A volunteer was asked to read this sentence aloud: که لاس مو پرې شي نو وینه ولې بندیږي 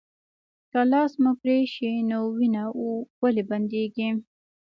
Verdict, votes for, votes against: accepted, 2, 0